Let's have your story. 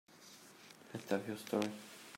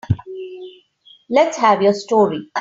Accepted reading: second